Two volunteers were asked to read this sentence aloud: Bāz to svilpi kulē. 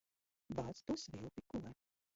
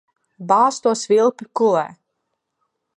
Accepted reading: second